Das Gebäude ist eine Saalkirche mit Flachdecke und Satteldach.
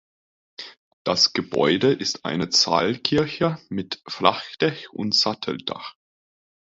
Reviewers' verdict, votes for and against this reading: rejected, 0, 2